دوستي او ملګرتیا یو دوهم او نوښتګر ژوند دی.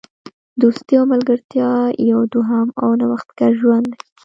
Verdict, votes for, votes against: rejected, 1, 2